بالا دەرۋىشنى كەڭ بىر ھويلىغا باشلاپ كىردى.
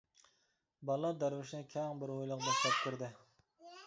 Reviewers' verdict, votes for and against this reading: accepted, 2, 1